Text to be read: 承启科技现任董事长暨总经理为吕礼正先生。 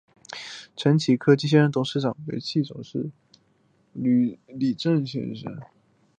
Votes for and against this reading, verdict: 2, 4, rejected